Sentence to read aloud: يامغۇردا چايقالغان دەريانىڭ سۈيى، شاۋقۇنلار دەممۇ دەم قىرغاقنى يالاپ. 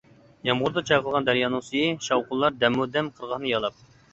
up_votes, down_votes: 0, 2